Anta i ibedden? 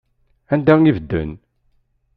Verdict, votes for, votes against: rejected, 0, 2